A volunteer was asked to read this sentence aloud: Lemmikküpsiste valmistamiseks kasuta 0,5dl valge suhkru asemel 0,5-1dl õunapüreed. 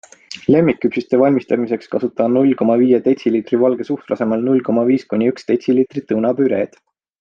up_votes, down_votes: 0, 2